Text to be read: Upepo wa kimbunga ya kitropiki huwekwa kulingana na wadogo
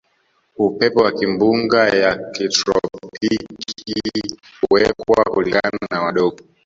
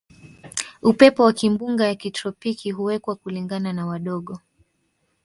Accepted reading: second